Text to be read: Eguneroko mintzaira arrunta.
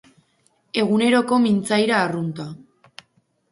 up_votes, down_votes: 2, 0